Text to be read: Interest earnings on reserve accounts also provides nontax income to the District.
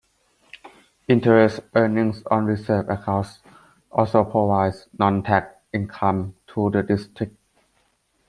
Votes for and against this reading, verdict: 1, 2, rejected